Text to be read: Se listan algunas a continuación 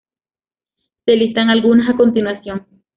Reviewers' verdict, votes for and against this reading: accepted, 2, 0